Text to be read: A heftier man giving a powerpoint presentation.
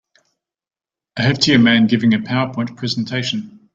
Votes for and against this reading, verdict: 2, 0, accepted